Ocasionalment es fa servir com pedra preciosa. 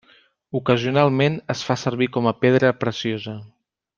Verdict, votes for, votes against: rejected, 1, 2